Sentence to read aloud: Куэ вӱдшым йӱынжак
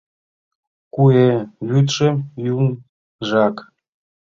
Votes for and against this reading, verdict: 0, 2, rejected